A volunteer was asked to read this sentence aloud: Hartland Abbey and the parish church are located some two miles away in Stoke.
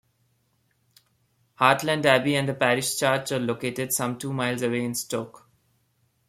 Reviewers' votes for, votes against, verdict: 2, 0, accepted